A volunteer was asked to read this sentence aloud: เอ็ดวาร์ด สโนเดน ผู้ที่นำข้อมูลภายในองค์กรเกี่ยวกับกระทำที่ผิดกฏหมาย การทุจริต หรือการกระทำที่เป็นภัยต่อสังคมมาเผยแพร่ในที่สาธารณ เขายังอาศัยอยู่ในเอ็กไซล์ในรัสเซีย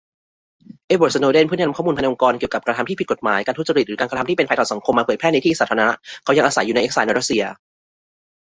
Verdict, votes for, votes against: accepted, 2, 0